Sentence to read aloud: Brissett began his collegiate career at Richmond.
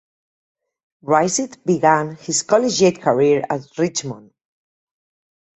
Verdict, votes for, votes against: rejected, 2, 4